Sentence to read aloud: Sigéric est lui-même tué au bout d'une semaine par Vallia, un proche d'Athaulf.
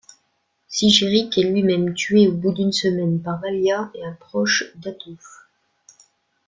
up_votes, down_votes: 1, 2